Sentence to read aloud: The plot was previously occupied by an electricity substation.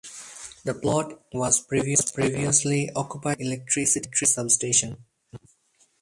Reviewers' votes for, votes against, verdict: 2, 4, rejected